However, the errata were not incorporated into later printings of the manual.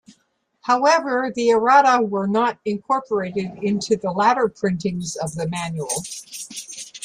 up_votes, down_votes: 1, 2